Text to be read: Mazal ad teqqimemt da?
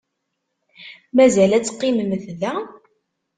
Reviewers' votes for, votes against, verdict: 2, 0, accepted